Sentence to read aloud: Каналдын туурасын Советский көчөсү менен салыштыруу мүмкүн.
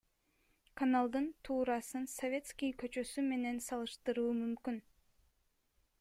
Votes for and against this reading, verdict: 1, 2, rejected